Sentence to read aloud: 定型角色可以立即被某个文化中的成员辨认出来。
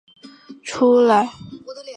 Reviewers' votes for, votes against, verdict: 0, 7, rejected